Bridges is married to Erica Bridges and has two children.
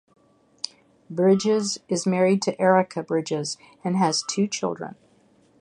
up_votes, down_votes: 6, 0